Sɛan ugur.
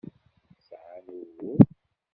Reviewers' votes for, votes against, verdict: 1, 2, rejected